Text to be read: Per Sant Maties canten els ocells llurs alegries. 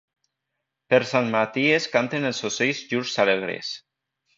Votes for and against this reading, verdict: 1, 2, rejected